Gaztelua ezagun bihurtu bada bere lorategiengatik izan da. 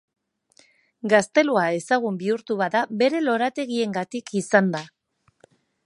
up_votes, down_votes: 2, 0